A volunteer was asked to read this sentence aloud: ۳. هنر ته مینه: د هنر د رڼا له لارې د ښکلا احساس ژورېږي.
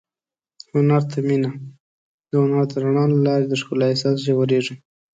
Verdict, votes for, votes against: rejected, 0, 2